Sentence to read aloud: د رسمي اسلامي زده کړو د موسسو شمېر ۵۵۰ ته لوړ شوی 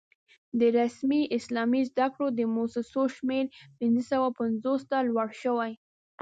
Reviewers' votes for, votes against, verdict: 0, 2, rejected